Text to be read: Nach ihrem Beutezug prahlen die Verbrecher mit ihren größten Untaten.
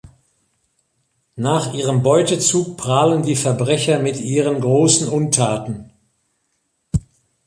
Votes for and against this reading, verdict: 1, 2, rejected